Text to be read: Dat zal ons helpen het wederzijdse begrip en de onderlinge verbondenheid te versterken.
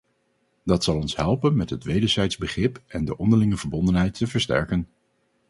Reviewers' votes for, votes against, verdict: 0, 4, rejected